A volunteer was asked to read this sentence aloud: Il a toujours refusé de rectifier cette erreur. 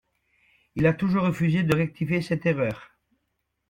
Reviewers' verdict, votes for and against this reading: accepted, 2, 0